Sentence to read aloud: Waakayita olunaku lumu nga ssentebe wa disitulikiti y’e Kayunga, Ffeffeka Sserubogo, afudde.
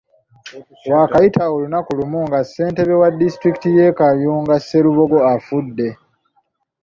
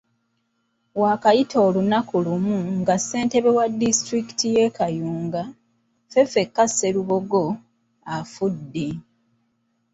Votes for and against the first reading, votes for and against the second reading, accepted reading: 0, 2, 2, 0, second